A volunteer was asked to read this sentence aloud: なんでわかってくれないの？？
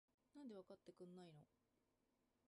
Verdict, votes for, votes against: rejected, 0, 2